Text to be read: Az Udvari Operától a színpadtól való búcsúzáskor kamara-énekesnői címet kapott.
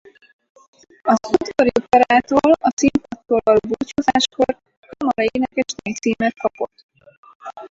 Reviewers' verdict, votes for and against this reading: rejected, 0, 4